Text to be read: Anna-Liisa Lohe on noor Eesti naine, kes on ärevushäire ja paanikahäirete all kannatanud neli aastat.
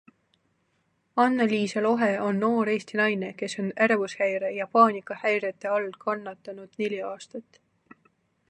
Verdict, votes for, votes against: accepted, 2, 0